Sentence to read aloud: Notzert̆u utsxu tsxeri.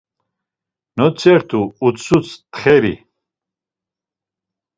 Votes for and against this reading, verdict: 1, 2, rejected